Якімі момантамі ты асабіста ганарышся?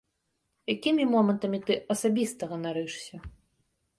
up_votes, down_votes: 2, 1